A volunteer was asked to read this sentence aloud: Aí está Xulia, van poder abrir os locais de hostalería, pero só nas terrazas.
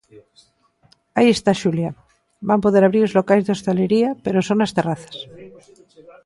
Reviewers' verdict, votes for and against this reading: rejected, 0, 2